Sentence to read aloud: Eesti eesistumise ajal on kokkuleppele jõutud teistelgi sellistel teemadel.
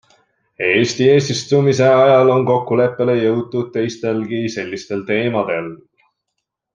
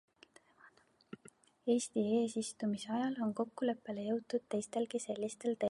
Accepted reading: first